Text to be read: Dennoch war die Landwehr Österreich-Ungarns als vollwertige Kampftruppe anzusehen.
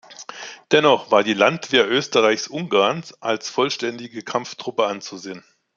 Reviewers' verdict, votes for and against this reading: rejected, 0, 2